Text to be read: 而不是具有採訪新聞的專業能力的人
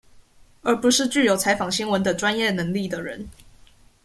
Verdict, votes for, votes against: accepted, 2, 0